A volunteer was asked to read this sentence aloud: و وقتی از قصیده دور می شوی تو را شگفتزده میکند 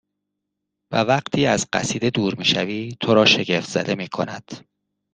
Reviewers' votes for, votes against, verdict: 2, 0, accepted